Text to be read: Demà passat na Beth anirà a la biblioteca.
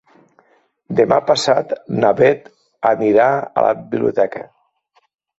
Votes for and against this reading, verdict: 2, 1, accepted